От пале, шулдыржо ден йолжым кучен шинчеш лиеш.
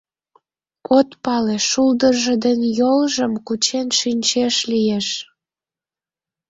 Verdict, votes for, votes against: accepted, 2, 0